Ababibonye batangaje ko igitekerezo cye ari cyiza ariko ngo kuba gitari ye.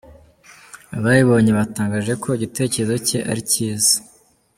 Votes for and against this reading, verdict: 0, 2, rejected